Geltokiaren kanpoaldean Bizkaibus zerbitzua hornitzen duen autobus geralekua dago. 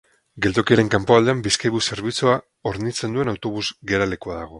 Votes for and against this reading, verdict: 4, 0, accepted